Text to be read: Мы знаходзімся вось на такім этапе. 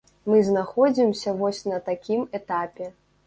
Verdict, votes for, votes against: accepted, 2, 0